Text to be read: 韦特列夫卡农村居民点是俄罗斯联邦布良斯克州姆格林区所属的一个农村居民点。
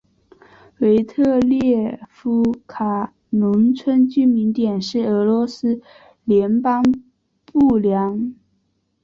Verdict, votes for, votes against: rejected, 0, 3